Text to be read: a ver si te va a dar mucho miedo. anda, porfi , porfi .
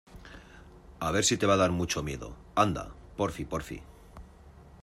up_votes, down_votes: 2, 0